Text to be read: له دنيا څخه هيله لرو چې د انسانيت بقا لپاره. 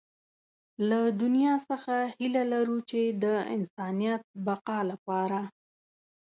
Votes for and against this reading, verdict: 2, 0, accepted